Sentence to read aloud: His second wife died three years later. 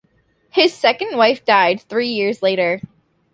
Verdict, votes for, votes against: accepted, 2, 0